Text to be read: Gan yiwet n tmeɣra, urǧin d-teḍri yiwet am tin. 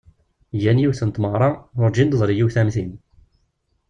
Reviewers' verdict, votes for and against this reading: accepted, 2, 0